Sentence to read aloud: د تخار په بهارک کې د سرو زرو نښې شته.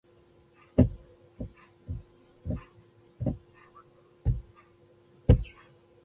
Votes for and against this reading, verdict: 0, 2, rejected